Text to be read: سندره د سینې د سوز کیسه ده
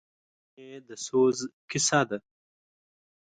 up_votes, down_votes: 1, 2